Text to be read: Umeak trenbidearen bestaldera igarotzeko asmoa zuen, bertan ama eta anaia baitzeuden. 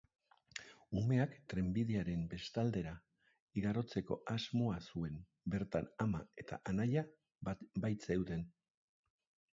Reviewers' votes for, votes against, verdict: 1, 2, rejected